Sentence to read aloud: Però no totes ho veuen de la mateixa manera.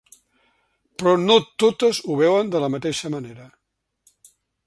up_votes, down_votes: 3, 0